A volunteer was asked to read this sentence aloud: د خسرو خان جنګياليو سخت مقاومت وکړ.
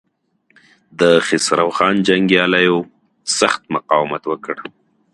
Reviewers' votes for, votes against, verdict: 3, 1, accepted